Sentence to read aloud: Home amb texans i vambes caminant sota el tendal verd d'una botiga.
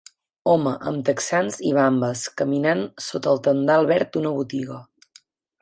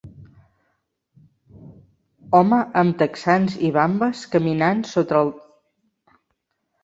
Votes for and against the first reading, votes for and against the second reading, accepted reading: 8, 0, 0, 2, first